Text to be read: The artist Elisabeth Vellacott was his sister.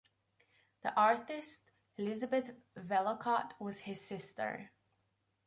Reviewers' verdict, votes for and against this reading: accepted, 2, 0